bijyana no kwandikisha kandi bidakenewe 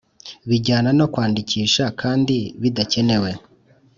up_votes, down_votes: 2, 0